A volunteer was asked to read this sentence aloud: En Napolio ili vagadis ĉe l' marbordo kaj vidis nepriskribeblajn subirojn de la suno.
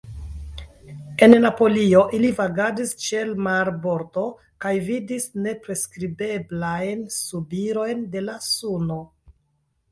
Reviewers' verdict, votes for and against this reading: accepted, 2, 0